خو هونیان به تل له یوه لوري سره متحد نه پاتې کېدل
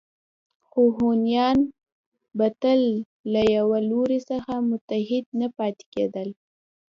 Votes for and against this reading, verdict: 1, 2, rejected